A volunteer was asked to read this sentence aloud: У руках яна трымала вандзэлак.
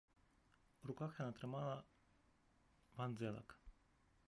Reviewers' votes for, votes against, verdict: 0, 2, rejected